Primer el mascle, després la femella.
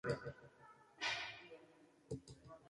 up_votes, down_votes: 0, 3